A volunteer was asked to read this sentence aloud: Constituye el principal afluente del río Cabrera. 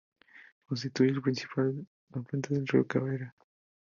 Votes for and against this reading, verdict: 2, 0, accepted